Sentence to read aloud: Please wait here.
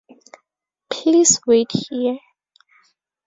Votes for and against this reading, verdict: 2, 0, accepted